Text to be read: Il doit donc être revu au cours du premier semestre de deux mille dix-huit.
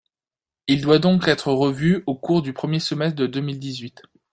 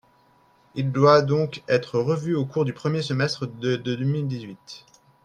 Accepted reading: first